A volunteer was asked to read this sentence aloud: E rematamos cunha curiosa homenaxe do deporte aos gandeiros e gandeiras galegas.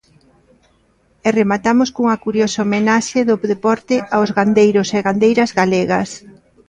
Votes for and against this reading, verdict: 2, 0, accepted